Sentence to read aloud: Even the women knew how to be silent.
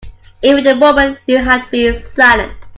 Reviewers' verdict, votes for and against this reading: rejected, 0, 2